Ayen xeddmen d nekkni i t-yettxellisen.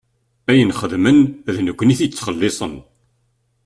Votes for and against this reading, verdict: 0, 2, rejected